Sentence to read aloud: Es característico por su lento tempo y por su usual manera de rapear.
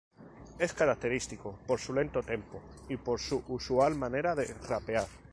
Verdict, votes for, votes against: rejected, 2, 2